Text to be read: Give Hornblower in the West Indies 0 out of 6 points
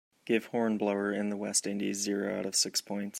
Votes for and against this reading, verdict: 0, 2, rejected